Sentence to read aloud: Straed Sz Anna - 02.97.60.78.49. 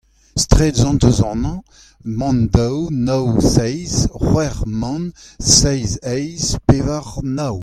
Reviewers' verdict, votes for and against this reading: rejected, 0, 2